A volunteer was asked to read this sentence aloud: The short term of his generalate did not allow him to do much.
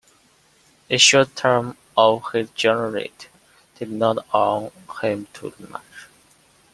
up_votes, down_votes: 2, 1